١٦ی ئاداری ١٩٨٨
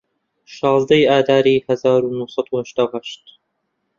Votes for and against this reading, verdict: 0, 2, rejected